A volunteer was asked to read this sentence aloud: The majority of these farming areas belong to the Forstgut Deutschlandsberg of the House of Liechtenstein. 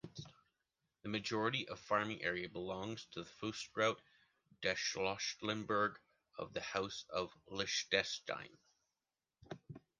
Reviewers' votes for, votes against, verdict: 0, 2, rejected